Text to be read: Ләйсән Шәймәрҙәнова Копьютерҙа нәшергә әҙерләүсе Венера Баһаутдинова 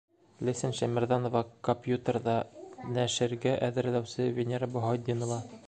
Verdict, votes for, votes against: accepted, 2, 0